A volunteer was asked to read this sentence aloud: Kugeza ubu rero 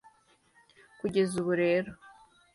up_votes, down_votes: 2, 0